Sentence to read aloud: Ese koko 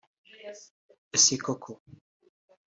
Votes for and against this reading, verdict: 2, 0, accepted